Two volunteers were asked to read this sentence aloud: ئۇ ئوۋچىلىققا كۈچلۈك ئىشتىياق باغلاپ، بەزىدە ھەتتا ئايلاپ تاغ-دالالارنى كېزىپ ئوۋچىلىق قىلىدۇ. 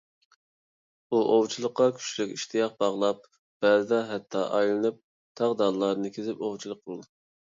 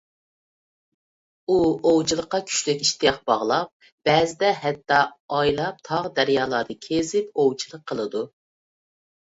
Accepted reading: second